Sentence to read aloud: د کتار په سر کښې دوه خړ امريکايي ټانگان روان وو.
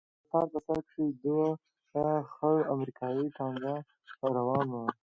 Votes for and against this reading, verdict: 2, 0, accepted